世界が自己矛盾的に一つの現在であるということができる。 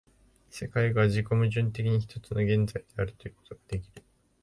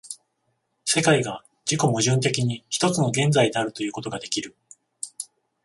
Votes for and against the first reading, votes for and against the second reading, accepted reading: 0, 2, 14, 0, second